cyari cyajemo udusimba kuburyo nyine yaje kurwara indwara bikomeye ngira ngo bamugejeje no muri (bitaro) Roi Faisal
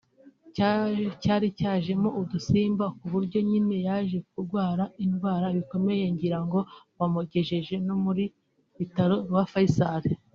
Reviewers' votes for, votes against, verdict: 1, 2, rejected